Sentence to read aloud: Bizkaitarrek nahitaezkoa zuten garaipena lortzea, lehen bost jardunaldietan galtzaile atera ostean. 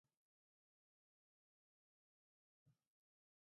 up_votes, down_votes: 0, 4